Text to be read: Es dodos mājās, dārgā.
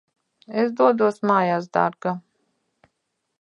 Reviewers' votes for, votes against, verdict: 1, 2, rejected